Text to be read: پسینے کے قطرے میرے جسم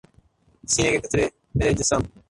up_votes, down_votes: 0, 2